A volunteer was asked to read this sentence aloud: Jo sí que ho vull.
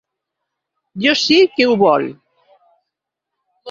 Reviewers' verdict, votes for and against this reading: rejected, 1, 2